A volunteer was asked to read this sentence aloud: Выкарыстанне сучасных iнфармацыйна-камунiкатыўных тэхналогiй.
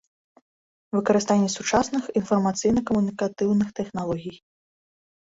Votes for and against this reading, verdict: 2, 0, accepted